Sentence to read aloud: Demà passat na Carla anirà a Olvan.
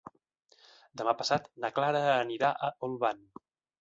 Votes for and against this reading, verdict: 1, 2, rejected